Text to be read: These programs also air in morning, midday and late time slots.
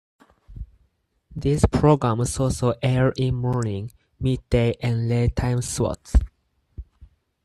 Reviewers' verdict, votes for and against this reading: accepted, 4, 0